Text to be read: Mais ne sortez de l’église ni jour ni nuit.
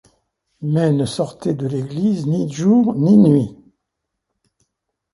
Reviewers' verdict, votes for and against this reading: rejected, 1, 2